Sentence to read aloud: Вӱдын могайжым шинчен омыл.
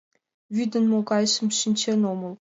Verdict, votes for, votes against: accepted, 2, 0